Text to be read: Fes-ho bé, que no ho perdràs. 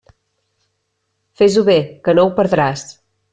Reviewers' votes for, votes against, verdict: 3, 0, accepted